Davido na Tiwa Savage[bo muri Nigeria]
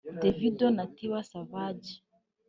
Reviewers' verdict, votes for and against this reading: rejected, 1, 2